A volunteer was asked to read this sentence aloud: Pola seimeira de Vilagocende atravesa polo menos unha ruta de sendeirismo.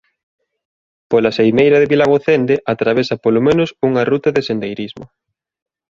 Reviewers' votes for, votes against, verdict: 2, 0, accepted